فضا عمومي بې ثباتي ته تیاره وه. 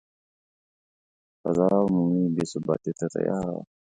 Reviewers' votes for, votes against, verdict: 1, 3, rejected